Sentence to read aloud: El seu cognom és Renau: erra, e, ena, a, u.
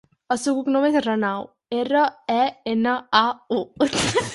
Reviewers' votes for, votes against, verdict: 0, 4, rejected